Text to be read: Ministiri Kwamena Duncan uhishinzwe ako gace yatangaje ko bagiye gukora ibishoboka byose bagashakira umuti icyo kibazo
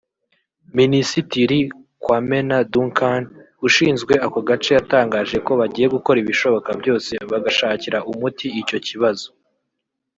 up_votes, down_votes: 1, 2